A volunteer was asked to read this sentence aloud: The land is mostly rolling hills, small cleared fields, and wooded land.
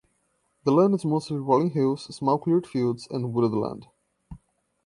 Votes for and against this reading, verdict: 1, 2, rejected